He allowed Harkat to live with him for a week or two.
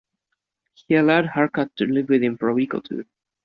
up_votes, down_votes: 2, 0